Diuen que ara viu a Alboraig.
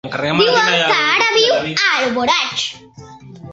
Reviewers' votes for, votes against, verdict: 1, 2, rejected